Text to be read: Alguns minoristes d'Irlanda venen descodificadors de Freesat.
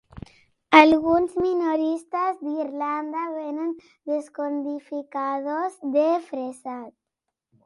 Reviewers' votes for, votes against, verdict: 0, 2, rejected